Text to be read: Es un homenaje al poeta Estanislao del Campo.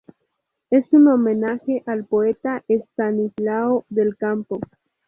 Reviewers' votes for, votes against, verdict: 2, 0, accepted